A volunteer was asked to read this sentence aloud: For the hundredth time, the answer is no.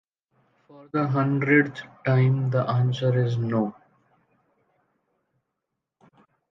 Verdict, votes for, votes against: accepted, 3, 0